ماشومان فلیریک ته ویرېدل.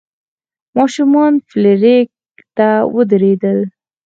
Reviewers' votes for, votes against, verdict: 2, 4, rejected